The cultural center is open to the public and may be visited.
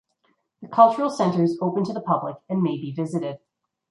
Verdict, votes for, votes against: accepted, 2, 0